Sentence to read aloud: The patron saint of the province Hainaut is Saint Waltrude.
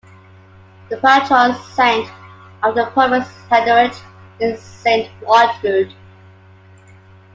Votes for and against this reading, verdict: 1, 2, rejected